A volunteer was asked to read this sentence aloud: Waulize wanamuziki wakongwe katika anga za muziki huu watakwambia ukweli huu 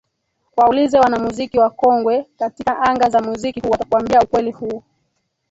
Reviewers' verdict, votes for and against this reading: rejected, 2, 3